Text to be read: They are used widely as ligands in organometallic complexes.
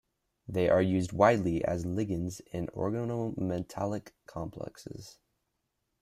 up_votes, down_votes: 1, 2